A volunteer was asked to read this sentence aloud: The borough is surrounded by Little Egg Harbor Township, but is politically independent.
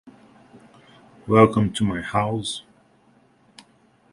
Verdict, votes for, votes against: rejected, 0, 2